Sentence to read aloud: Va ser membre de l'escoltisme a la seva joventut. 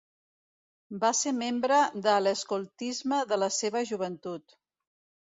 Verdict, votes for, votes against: rejected, 1, 2